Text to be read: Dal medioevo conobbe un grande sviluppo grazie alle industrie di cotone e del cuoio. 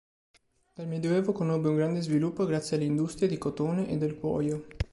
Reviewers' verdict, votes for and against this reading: accepted, 3, 0